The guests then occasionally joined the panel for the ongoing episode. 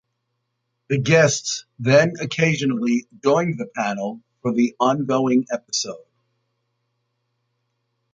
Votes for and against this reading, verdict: 2, 0, accepted